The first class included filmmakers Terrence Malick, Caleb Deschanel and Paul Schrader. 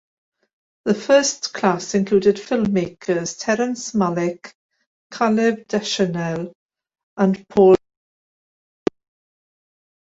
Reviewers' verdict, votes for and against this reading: rejected, 1, 2